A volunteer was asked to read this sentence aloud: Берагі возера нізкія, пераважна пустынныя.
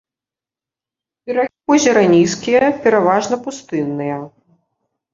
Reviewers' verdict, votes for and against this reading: rejected, 0, 2